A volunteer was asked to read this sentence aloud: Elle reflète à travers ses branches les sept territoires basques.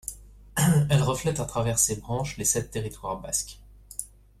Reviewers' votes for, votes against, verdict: 1, 2, rejected